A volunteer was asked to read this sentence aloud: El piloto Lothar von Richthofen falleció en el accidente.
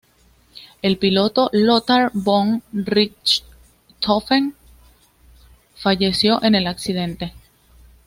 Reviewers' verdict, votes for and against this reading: accepted, 2, 0